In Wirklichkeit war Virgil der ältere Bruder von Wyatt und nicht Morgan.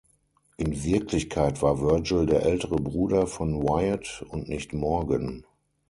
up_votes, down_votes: 6, 0